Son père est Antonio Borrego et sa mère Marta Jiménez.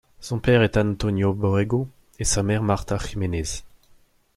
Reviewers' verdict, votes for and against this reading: rejected, 1, 2